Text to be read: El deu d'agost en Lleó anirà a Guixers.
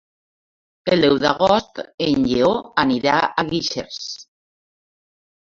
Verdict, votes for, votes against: rejected, 1, 2